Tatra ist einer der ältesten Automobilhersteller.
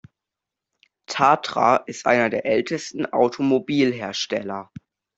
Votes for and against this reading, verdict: 2, 0, accepted